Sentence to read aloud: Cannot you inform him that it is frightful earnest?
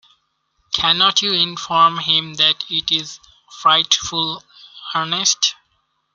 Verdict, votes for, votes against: accepted, 2, 0